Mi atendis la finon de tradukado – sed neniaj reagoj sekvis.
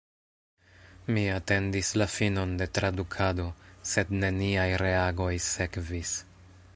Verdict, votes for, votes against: accepted, 2, 1